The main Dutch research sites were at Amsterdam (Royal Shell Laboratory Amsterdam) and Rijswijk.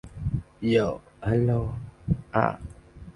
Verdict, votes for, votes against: rejected, 0, 7